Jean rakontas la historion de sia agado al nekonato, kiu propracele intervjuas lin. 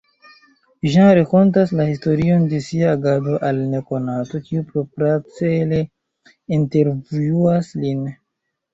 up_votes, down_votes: 2, 1